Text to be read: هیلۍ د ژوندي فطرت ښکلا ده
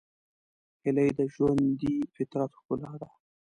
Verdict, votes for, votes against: rejected, 1, 2